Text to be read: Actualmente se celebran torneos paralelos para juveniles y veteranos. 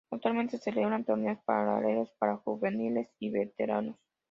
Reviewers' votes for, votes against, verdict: 2, 0, accepted